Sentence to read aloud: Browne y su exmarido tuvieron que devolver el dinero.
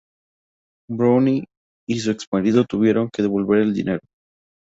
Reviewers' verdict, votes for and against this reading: accepted, 2, 0